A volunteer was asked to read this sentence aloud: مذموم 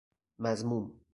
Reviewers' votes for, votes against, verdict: 2, 2, rejected